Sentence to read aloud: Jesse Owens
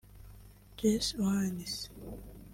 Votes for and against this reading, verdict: 1, 2, rejected